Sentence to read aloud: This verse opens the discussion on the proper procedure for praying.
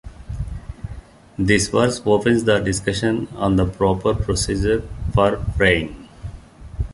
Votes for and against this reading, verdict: 2, 0, accepted